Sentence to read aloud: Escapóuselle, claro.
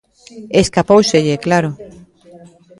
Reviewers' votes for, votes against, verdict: 0, 2, rejected